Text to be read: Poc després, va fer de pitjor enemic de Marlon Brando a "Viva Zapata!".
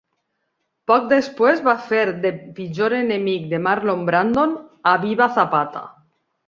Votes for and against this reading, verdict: 2, 1, accepted